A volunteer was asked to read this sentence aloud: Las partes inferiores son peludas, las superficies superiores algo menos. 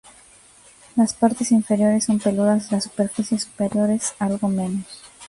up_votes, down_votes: 2, 1